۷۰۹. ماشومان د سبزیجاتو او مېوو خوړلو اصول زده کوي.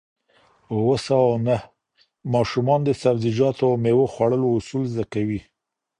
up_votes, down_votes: 0, 2